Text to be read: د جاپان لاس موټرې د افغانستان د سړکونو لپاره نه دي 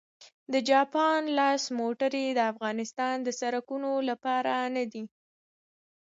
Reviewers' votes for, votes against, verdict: 2, 0, accepted